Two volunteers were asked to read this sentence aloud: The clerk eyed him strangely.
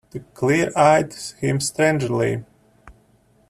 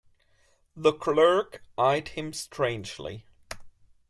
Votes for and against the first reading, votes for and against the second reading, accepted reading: 0, 2, 2, 0, second